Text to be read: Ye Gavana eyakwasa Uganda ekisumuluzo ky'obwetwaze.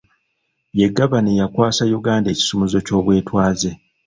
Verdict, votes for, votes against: accepted, 2, 0